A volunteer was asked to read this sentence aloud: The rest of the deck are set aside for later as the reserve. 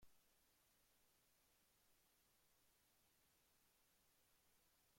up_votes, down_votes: 0, 2